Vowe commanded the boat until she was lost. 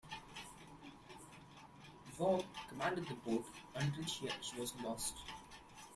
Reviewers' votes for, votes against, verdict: 2, 1, accepted